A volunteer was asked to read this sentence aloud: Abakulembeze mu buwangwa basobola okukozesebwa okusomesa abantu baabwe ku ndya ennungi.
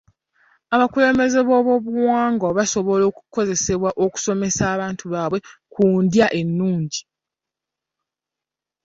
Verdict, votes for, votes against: rejected, 1, 2